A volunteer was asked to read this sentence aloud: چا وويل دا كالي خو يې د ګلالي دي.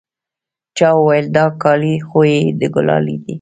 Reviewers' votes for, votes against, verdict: 1, 2, rejected